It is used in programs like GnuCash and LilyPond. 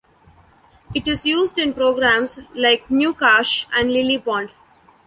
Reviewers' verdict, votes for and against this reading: accepted, 2, 0